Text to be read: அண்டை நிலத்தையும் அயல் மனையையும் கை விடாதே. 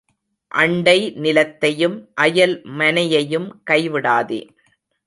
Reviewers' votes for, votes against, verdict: 2, 0, accepted